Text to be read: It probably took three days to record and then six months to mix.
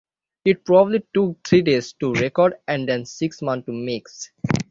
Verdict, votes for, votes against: accepted, 6, 0